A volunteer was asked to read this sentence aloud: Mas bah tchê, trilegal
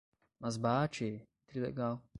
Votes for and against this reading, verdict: 5, 0, accepted